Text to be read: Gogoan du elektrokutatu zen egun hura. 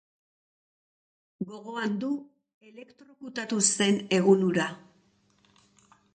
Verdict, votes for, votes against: rejected, 1, 5